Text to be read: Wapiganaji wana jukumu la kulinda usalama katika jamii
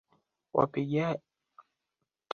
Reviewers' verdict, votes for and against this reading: rejected, 0, 2